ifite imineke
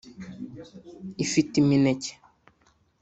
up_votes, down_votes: 2, 0